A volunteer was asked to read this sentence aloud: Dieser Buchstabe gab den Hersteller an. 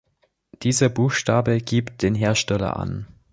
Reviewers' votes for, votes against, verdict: 0, 2, rejected